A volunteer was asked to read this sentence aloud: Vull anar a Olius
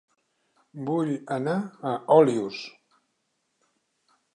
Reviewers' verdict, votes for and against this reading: accepted, 2, 0